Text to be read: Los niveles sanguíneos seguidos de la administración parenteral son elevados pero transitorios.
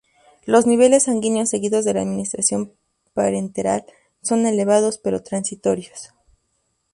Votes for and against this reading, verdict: 6, 2, accepted